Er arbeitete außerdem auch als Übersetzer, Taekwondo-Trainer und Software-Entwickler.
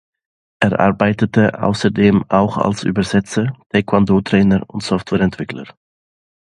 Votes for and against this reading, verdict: 2, 0, accepted